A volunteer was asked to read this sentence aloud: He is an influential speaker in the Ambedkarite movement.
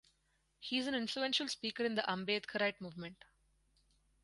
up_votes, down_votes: 4, 0